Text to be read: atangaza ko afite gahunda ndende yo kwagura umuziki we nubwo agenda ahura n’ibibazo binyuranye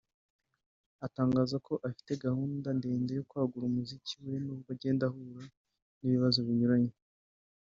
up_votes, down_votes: 1, 2